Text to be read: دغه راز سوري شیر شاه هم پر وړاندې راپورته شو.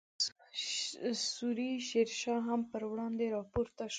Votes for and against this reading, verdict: 0, 2, rejected